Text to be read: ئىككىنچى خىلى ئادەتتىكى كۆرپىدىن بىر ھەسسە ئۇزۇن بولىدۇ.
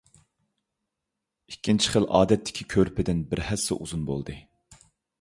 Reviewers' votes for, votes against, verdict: 0, 2, rejected